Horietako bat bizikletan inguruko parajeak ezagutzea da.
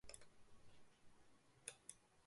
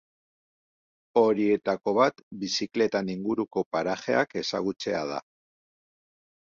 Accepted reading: second